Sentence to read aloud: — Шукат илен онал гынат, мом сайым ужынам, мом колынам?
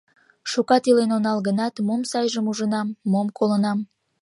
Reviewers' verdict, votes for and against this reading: rejected, 1, 2